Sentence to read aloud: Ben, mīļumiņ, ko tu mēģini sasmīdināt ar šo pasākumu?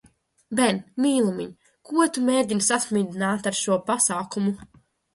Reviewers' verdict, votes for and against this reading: rejected, 0, 2